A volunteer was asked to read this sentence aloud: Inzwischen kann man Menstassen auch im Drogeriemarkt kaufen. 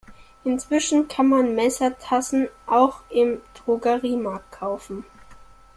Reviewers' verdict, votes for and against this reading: rejected, 0, 2